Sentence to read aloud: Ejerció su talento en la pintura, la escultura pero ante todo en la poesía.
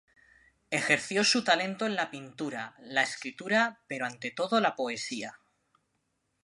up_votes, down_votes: 1, 4